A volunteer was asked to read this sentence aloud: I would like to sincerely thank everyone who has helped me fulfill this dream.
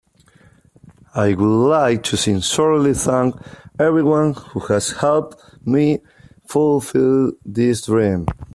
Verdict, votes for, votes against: accepted, 3, 1